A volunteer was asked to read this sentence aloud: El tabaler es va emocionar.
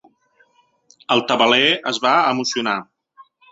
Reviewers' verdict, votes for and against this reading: accepted, 3, 0